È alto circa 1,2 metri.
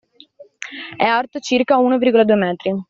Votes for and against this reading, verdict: 0, 2, rejected